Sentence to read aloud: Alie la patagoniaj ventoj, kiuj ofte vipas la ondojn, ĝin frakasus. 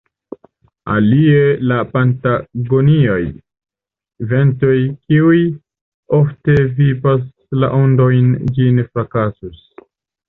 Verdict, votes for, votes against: accepted, 2, 1